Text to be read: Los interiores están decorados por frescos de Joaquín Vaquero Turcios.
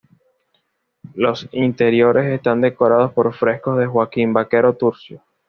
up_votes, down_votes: 2, 0